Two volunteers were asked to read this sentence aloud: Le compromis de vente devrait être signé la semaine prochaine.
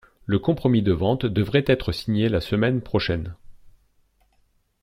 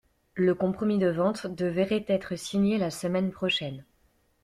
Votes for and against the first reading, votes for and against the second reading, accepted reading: 2, 0, 0, 2, first